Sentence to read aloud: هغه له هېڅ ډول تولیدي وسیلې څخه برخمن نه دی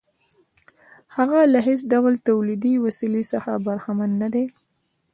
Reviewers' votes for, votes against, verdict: 2, 0, accepted